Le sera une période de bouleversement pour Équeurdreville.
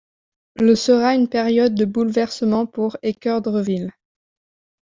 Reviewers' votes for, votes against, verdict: 2, 1, accepted